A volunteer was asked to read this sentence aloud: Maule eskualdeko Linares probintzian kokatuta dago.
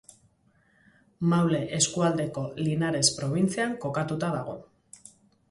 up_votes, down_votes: 2, 0